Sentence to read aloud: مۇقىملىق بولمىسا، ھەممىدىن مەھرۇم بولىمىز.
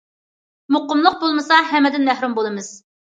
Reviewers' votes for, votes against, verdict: 2, 0, accepted